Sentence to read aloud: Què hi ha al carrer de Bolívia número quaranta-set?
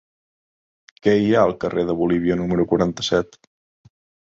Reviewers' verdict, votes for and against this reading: accepted, 3, 0